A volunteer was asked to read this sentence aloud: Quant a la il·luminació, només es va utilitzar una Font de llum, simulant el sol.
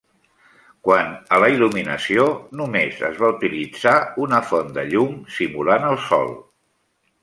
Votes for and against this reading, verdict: 2, 0, accepted